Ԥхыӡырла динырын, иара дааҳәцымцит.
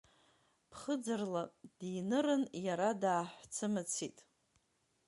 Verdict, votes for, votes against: rejected, 1, 2